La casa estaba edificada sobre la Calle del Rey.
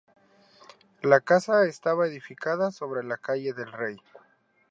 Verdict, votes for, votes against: accepted, 2, 0